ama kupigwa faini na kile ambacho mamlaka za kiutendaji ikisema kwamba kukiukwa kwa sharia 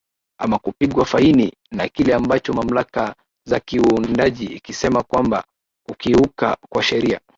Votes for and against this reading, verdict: 0, 2, rejected